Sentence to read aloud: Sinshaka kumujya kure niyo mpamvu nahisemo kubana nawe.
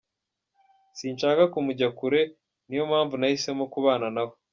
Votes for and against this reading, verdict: 3, 0, accepted